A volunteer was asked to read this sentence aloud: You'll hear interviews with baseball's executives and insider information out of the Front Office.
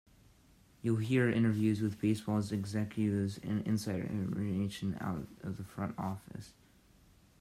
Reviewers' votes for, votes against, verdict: 0, 2, rejected